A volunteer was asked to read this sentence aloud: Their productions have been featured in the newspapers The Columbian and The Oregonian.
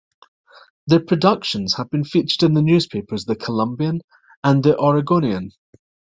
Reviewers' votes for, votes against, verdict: 1, 2, rejected